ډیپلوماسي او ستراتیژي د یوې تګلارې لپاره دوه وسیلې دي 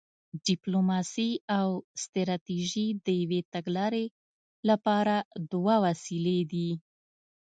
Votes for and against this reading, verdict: 2, 0, accepted